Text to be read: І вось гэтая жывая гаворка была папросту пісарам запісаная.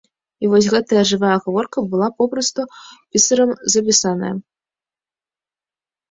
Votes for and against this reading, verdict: 1, 2, rejected